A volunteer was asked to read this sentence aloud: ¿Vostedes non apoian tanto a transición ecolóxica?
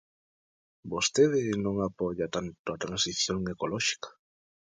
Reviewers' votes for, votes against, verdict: 0, 2, rejected